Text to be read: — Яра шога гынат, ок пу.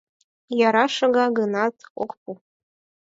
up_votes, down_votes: 4, 2